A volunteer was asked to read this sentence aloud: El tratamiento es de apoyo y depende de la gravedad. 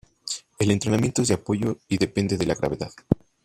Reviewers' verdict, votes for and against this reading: rejected, 1, 2